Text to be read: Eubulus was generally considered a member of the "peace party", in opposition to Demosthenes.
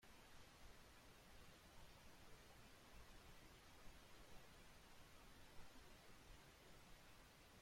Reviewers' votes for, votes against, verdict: 0, 2, rejected